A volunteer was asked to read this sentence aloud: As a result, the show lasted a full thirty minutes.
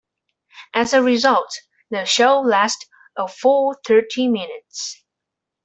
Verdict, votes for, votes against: accepted, 2, 0